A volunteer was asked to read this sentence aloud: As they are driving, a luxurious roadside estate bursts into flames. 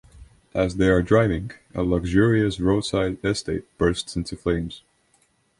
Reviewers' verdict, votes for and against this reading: accepted, 3, 1